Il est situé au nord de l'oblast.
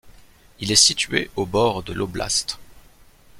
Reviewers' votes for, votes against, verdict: 1, 2, rejected